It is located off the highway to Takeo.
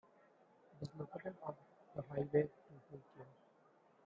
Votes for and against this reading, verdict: 0, 2, rejected